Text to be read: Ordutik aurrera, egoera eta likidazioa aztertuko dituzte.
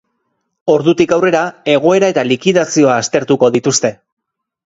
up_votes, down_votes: 2, 0